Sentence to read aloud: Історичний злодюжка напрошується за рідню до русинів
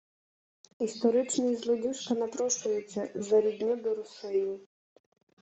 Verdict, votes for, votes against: rejected, 0, 2